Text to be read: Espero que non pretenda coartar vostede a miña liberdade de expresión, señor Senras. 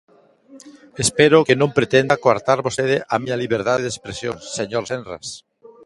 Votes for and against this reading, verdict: 0, 2, rejected